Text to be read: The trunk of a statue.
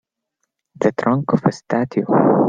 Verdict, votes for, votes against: accepted, 2, 0